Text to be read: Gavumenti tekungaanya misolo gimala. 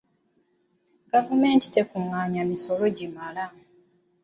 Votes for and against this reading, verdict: 2, 0, accepted